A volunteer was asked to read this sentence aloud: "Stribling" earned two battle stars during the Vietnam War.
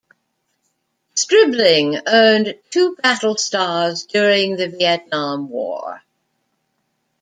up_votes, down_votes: 2, 0